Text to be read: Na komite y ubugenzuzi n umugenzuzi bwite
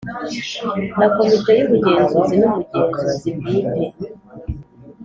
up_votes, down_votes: 3, 0